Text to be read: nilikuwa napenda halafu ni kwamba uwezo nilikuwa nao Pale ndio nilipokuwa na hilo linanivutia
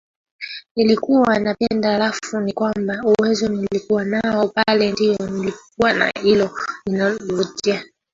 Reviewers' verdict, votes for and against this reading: rejected, 0, 2